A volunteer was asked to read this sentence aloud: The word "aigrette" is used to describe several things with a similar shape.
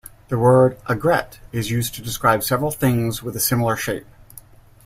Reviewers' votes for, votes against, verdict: 2, 0, accepted